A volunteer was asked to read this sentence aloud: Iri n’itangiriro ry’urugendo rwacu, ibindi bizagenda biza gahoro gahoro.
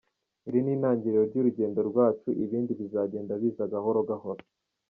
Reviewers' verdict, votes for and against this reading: accepted, 2, 0